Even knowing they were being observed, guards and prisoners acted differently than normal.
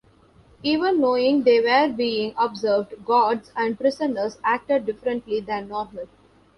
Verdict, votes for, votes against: accepted, 2, 0